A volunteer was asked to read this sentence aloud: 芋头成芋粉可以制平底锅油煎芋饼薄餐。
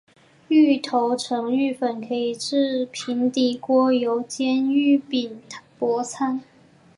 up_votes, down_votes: 3, 1